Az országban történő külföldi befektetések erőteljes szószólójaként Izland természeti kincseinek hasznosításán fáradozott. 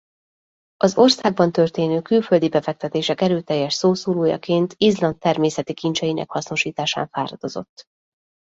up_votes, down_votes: 2, 0